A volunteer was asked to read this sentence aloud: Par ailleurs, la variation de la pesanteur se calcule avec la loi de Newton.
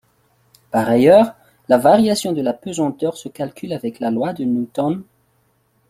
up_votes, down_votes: 1, 2